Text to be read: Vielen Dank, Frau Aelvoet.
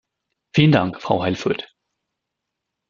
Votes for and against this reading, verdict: 2, 1, accepted